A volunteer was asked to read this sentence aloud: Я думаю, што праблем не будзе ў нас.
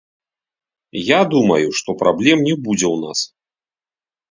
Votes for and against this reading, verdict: 0, 3, rejected